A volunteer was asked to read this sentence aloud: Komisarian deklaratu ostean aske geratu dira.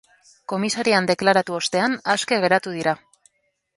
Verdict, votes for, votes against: accepted, 2, 0